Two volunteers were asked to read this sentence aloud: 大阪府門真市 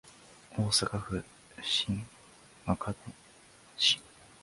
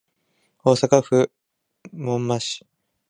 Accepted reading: second